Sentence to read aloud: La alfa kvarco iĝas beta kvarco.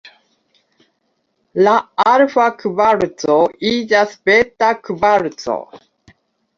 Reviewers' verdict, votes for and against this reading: accepted, 2, 0